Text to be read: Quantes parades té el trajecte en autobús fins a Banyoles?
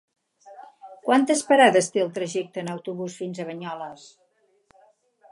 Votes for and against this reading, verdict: 4, 0, accepted